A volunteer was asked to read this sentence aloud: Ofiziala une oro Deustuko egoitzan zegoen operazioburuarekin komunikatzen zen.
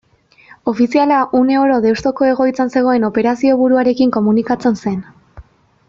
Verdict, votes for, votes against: accepted, 2, 0